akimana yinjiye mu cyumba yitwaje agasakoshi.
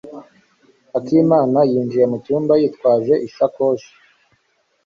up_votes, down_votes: 0, 2